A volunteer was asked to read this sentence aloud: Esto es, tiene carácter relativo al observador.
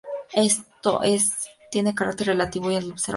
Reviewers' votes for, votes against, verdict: 0, 2, rejected